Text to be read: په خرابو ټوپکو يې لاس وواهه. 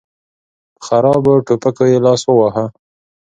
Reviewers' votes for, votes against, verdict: 2, 0, accepted